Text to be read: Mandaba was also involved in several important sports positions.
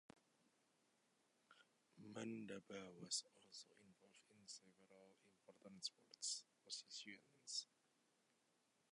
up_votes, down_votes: 0, 2